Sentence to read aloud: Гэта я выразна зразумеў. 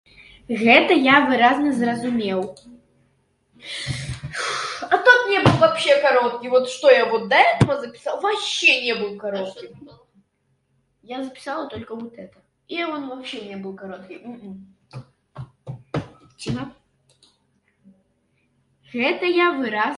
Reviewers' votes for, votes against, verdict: 0, 2, rejected